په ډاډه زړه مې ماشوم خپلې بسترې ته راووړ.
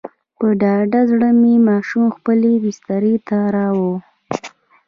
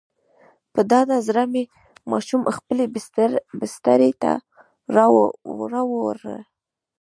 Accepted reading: first